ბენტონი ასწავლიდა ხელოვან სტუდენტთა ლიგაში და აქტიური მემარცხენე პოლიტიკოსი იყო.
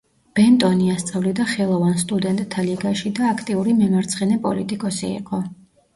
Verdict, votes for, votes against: accepted, 2, 0